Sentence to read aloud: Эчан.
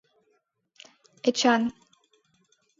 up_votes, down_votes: 2, 1